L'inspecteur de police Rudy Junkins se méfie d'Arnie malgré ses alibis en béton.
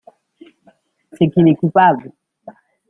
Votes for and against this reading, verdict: 0, 2, rejected